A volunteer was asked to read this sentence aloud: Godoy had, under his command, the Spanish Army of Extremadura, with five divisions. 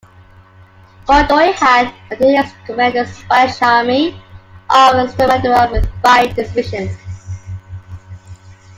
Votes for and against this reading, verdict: 0, 2, rejected